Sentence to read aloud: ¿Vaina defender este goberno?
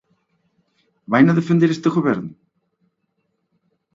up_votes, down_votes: 2, 0